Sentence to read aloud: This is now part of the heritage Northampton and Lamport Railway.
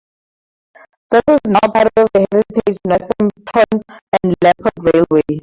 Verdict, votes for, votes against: rejected, 0, 4